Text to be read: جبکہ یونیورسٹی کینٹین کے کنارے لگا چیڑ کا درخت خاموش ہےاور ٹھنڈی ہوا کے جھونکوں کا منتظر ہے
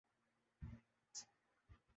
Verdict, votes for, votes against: rejected, 0, 2